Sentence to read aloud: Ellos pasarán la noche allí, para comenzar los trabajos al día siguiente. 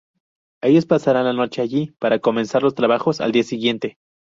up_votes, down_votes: 2, 0